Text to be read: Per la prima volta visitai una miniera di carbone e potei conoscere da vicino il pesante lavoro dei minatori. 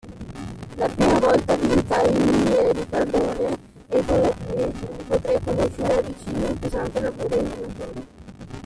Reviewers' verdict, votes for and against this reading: rejected, 0, 2